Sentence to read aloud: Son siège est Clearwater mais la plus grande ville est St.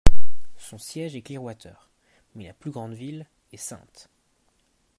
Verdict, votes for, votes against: accepted, 2, 0